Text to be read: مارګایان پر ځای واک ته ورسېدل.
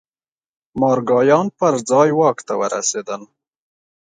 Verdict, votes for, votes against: accepted, 2, 0